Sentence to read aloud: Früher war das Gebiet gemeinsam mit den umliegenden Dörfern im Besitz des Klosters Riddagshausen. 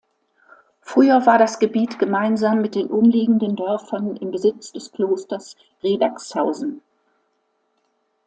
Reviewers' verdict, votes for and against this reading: accepted, 2, 0